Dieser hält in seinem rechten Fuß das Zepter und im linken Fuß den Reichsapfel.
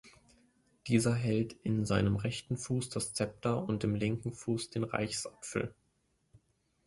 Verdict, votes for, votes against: accepted, 2, 0